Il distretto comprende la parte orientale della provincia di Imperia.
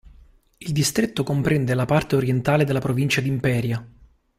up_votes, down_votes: 2, 0